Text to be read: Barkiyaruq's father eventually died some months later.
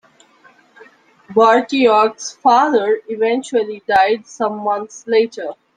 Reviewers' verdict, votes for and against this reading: accepted, 2, 0